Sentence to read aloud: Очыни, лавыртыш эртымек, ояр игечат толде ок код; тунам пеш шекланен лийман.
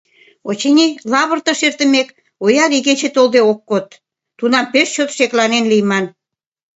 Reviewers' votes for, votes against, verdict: 1, 2, rejected